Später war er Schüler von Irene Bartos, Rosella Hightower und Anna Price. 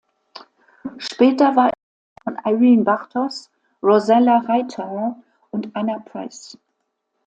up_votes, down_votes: 0, 2